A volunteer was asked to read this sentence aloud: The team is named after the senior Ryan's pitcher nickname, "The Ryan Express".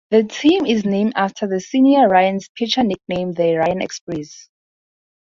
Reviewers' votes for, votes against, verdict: 4, 2, accepted